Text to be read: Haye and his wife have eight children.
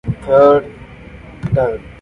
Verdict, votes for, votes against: rejected, 0, 2